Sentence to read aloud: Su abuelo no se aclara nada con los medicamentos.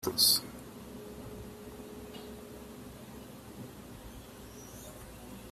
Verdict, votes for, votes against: rejected, 0, 3